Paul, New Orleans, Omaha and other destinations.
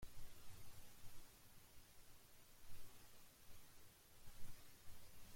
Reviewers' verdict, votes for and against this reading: rejected, 0, 2